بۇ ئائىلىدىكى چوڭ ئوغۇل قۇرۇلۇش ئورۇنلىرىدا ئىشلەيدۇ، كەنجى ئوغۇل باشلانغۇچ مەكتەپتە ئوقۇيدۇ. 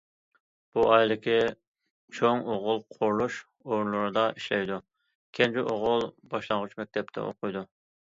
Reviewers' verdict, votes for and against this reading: accepted, 2, 0